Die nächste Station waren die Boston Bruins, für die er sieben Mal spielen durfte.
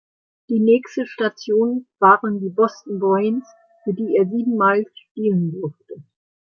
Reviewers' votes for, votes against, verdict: 2, 1, accepted